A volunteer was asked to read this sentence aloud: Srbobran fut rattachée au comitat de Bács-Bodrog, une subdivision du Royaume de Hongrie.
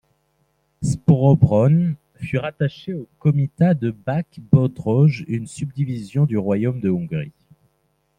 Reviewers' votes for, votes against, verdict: 2, 0, accepted